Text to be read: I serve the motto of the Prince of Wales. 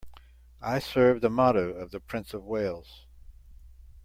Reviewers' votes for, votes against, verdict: 2, 0, accepted